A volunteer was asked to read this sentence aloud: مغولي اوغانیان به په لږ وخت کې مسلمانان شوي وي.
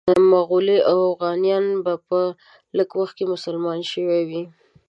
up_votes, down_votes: 1, 2